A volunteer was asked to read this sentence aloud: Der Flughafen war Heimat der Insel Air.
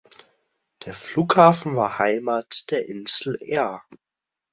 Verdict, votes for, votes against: accepted, 2, 0